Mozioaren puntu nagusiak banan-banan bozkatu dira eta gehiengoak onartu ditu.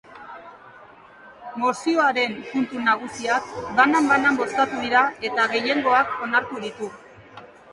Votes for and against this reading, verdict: 1, 2, rejected